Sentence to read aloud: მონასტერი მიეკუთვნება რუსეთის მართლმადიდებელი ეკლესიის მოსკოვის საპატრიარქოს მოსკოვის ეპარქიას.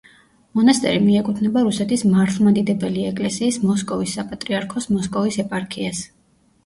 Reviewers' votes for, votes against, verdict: 2, 0, accepted